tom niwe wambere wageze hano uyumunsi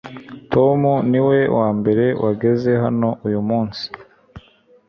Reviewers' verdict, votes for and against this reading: accepted, 2, 0